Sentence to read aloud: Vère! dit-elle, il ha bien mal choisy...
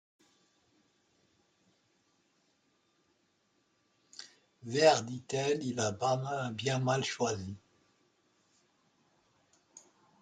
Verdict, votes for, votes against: rejected, 0, 2